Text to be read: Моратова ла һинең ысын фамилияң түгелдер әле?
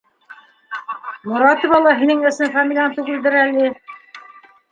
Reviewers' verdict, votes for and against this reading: rejected, 0, 2